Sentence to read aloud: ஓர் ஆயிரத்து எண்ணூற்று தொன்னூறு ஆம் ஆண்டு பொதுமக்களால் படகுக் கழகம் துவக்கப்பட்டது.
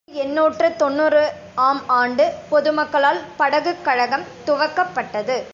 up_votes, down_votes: 0, 2